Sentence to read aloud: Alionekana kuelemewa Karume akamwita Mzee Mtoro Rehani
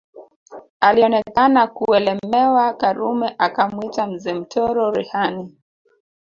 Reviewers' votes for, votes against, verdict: 2, 0, accepted